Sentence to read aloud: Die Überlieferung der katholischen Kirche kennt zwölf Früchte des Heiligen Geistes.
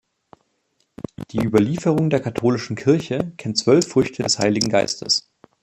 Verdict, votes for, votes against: rejected, 1, 2